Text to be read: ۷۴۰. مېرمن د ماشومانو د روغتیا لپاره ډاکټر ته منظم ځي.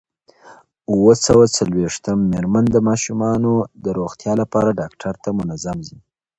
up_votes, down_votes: 0, 2